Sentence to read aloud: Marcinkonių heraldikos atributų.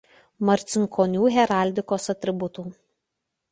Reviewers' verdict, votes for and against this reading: accepted, 2, 0